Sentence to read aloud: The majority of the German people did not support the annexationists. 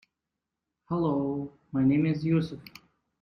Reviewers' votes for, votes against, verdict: 0, 2, rejected